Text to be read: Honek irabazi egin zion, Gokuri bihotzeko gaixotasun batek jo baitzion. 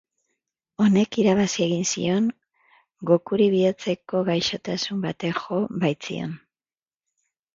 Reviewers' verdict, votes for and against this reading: accepted, 3, 0